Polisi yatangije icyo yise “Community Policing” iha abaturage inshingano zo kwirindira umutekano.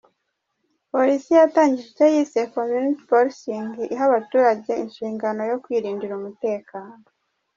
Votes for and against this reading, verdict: 2, 1, accepted